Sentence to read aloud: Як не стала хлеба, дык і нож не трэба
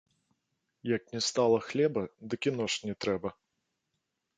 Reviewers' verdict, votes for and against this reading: accepted, 2, 0